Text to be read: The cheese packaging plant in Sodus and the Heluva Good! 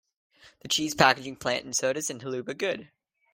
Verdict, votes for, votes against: rejected, 0, 2